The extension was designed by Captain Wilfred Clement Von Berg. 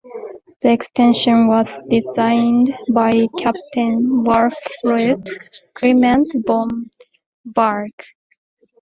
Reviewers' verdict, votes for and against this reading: accepted, 2, 0